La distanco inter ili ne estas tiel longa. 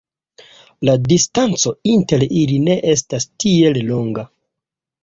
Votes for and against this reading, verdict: 2, 1, accepted